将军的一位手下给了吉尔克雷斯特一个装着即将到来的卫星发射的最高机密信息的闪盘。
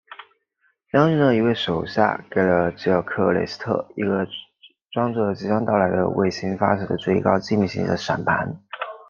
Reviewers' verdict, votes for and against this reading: rejected, 0, 2